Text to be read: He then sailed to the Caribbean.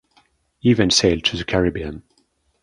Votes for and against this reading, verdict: 2, 1, accepted